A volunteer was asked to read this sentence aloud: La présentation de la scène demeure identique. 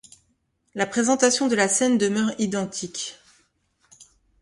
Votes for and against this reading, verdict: 2, 0, accepted